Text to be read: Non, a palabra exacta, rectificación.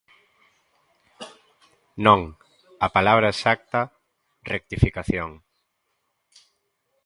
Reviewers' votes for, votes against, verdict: 2, 0, accepted